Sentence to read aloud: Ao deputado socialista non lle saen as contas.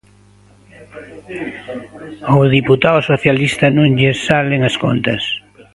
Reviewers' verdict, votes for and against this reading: rejected, 0, 2